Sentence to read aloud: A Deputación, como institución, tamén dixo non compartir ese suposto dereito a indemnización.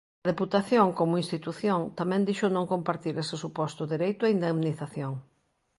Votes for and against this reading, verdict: 0, 2, rejected